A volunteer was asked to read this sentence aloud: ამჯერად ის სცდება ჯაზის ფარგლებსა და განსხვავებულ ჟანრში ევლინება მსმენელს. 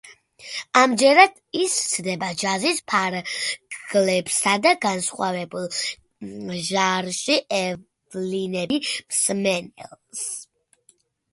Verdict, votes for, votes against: rejected, 0, 2